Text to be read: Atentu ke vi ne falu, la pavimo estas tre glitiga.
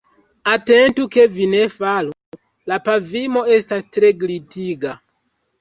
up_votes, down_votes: 0, 2